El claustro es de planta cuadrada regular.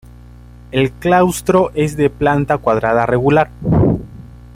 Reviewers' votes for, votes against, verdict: 0, 2, rejected